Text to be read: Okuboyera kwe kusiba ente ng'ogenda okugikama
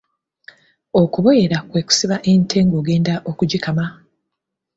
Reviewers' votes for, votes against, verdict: 2, 0, accepted